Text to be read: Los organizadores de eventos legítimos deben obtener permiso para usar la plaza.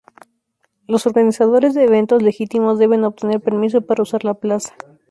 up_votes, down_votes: 2, 0